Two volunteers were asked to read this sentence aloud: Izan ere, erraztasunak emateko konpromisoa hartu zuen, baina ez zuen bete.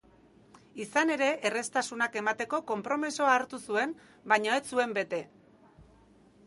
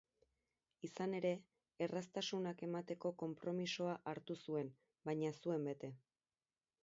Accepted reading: first